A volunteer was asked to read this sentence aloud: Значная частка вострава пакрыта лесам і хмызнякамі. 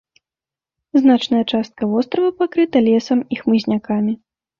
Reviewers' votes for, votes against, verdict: 2, 0, accepted